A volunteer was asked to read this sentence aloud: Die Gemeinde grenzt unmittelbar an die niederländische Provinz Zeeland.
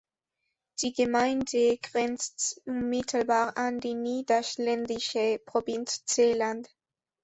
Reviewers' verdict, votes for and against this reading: rejected, 1, 2